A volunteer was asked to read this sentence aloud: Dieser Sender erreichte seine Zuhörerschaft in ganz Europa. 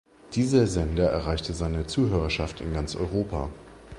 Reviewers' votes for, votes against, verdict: 2, 0, accepted